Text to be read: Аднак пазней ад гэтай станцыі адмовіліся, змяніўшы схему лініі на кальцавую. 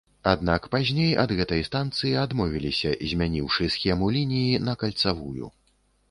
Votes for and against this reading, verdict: 2, 0, accepted